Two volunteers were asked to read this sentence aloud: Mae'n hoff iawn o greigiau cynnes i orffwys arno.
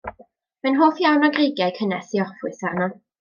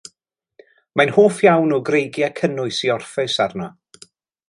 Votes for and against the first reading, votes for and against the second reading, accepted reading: 2, 0, 1, 2, first